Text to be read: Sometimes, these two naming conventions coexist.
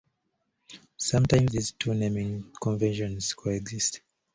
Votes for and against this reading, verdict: 2, 1, accepted